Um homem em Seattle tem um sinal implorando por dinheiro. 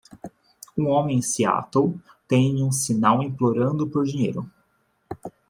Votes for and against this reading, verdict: 2, 0, accepted